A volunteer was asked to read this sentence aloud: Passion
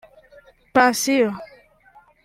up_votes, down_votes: 1, 3